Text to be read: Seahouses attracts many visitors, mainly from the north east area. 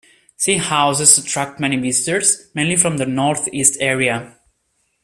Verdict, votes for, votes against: rejected, 1, 2